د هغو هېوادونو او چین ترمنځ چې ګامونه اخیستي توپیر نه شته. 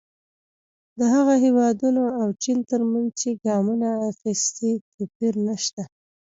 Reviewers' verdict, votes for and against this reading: accepted, 2, 0